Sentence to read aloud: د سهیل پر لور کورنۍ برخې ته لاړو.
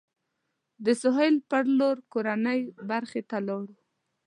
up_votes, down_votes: 2, 0